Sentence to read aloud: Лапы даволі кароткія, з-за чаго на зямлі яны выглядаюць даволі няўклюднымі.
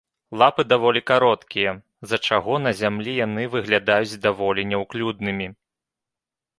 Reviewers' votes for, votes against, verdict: 2, 0, accepted